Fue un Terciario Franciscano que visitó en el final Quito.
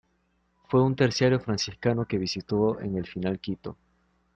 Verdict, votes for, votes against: accepted, 2, 0